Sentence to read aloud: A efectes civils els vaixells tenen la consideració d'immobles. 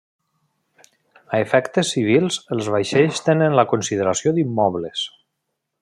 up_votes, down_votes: 3, 0